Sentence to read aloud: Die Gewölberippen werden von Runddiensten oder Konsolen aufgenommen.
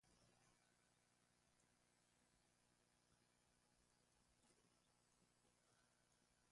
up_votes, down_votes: 0, 2